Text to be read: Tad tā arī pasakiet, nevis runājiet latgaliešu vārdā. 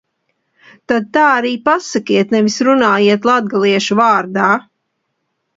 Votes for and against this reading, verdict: 2, 0, accepted